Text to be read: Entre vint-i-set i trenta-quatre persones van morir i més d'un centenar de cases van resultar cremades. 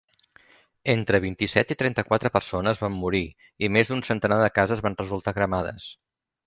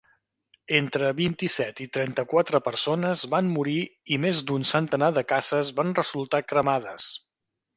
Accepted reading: first